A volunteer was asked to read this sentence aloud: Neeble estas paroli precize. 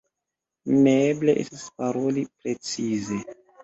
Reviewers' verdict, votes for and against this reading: accepted, 2, 0